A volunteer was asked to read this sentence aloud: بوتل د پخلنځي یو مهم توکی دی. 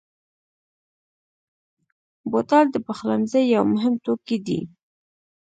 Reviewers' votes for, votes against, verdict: 1, 2, rejected